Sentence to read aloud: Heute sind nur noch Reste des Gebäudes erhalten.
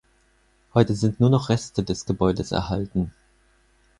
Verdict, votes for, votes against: accepted, 4, 0